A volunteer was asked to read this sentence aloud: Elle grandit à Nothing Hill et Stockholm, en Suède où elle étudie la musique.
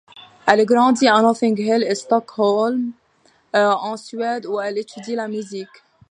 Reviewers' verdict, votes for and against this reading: rejected, 1, 2